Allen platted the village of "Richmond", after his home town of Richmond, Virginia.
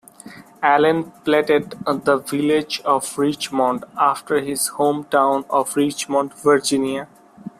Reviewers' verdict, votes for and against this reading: accepted, 2, 0